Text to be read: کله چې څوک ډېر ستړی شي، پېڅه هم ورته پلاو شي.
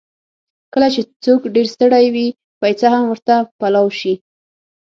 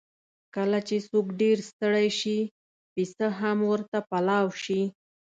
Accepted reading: second